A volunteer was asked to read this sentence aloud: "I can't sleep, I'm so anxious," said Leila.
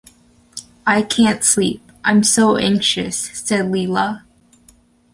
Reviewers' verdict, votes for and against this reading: accepted, 2, 0